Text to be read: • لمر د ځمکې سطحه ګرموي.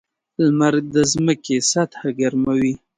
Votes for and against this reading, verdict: 2, 0, accepted